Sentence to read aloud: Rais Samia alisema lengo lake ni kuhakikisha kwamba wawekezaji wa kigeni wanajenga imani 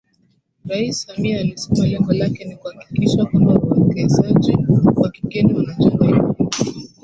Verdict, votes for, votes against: accepted, 2, 1